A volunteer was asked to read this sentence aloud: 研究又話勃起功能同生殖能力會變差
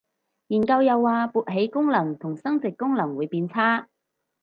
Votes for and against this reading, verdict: 2, 4, rejected